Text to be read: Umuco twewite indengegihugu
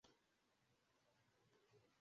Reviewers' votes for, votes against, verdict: 0, 2, rejected